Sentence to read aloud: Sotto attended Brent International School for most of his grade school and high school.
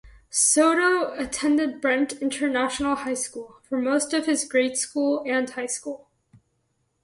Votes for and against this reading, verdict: 0, 2, rejected